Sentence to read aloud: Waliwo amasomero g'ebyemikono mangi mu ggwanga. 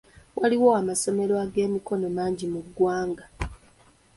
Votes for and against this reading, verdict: 2, 0, accepted